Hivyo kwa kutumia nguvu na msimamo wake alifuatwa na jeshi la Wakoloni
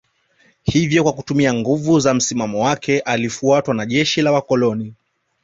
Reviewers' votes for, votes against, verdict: 2, 0, accepted